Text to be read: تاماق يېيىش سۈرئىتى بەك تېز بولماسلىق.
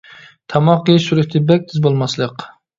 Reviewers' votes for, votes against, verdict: 1, 2, rejected